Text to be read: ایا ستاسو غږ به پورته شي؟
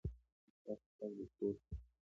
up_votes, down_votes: 2, 0